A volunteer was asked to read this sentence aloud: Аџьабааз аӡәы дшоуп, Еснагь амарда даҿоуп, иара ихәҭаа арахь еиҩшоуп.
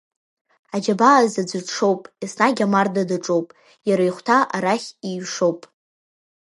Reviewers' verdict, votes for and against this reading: accepted, 2, 0